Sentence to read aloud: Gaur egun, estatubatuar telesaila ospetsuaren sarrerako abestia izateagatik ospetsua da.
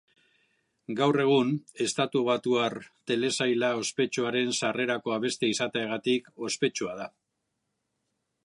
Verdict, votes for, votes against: accepted, 2, 0